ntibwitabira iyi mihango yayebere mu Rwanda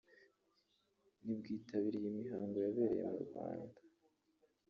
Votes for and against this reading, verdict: 0, 2, rejected